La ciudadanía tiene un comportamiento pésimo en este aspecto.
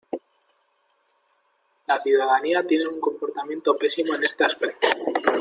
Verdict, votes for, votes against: accepted, 2, 0